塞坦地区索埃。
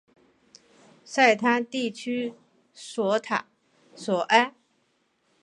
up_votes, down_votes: 2, 3